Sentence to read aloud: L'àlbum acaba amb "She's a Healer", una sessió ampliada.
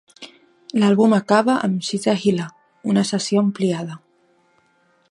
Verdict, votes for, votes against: accepted, 2, 0